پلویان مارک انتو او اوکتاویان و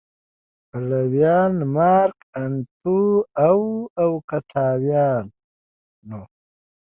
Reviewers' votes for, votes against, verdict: 2, 0, accepted